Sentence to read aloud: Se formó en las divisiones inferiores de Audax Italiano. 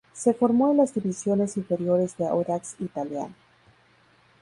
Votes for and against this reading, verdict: 2, 0, accepted